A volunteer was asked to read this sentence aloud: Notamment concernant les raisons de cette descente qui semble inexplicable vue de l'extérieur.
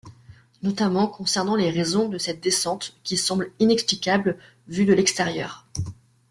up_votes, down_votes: 2, 0